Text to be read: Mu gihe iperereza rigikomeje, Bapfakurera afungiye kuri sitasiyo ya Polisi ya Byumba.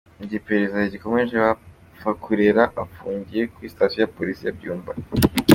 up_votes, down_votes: 2, 0